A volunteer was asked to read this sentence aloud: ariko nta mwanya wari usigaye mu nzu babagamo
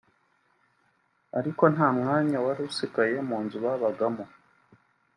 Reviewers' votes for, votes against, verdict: 3, 0, accepted